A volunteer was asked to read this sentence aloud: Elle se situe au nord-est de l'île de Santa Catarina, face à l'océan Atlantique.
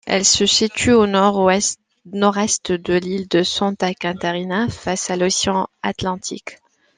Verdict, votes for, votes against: rejected, 1, 2